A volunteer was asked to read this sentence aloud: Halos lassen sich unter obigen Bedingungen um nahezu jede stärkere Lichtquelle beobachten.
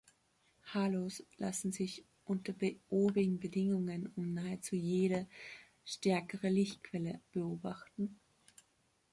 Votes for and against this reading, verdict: 2, 3, rejected